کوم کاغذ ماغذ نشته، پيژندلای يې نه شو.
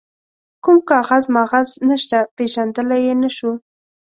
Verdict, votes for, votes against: accepted, 2, 0